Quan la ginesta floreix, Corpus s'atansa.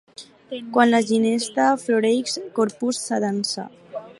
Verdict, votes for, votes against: accepted, 4, 0